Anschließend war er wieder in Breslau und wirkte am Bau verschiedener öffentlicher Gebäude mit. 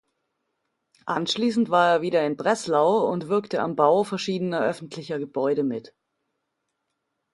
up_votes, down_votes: 2, 0